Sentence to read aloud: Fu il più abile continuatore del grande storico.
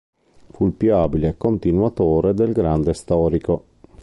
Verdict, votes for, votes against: accepted, 2, 0